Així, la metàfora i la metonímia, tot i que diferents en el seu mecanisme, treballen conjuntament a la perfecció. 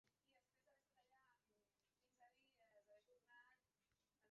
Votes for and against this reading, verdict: 0, 2, rejected